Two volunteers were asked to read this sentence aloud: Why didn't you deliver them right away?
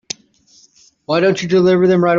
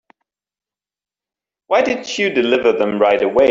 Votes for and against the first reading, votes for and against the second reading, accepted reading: 0, 2, 2, 0, second